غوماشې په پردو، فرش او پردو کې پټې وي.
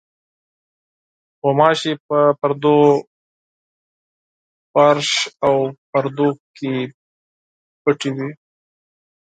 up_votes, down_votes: 0, 4